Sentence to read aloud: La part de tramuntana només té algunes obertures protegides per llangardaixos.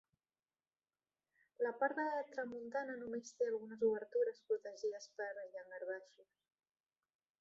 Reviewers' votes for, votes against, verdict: 0, 2, rejected